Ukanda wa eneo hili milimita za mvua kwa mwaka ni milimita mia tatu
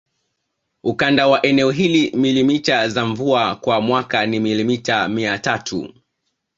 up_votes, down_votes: 2, 0